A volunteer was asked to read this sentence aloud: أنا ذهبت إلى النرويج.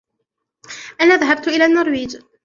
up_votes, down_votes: 2, 0